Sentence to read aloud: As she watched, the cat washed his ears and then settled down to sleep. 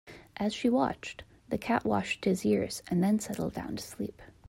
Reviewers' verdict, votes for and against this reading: accepted, 2, 0